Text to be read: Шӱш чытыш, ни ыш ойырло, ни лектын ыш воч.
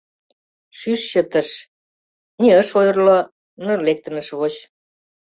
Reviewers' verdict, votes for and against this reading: accepted, 2, 1